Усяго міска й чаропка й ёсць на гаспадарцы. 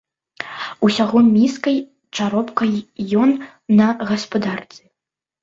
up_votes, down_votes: 0, 2